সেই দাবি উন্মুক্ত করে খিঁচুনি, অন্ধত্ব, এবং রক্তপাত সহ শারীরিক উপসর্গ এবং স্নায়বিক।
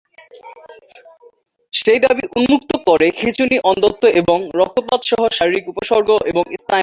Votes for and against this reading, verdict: 0, 2, rejected